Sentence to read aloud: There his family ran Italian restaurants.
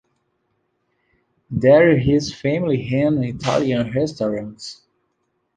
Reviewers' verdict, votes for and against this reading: accepted, 2, 0